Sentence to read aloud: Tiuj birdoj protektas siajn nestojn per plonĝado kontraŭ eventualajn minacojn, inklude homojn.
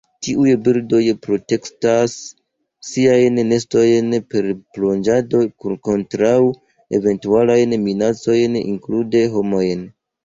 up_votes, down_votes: 0, 2